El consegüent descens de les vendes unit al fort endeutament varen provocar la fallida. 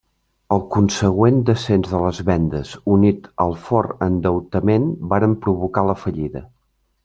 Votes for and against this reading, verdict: 2, 1, accepted